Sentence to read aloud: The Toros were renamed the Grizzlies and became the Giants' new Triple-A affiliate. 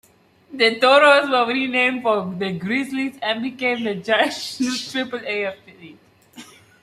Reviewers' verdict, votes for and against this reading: rejected, 1, 2